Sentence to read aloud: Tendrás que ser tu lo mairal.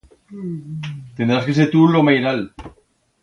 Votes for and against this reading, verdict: 2, 0, accepted